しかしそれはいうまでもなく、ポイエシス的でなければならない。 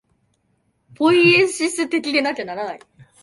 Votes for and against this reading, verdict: 0, 2, rejected